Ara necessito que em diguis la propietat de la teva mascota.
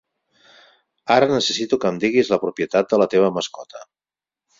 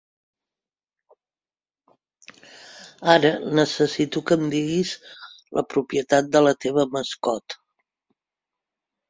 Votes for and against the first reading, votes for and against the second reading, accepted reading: 4, 0, 0, 2, first